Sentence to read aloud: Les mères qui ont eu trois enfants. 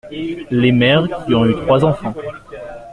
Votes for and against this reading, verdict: 2, 0, accepted